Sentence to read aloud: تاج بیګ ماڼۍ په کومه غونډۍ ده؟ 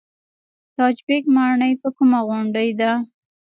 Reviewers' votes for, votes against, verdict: 0, 2, rejected